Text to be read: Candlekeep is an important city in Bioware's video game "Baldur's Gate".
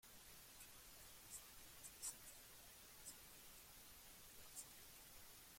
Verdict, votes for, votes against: rejected, 0, 2